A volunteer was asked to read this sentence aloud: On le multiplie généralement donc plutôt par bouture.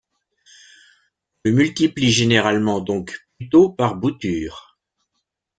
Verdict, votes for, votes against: rejected, 1, 2